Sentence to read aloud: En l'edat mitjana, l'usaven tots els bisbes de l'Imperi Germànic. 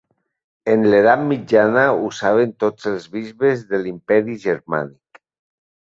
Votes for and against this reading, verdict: 2, 1, accepted